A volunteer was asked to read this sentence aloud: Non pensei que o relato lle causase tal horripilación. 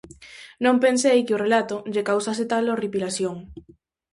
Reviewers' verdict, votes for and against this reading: accepted, 4, 0